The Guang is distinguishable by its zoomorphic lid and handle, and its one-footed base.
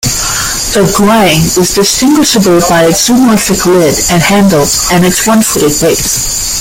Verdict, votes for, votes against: rejected, 0, 2